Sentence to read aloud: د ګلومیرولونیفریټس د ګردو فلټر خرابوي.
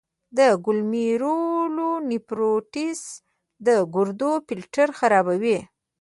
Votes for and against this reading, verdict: 0, 2, rejected